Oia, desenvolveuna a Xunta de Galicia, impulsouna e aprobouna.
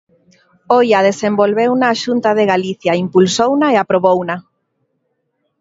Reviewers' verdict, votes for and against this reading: accepted, 2, 1